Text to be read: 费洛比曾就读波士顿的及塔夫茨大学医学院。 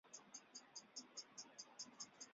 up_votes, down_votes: 0, 2